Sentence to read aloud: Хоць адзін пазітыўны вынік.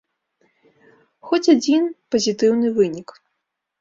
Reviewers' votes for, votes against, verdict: 2, 0, accepted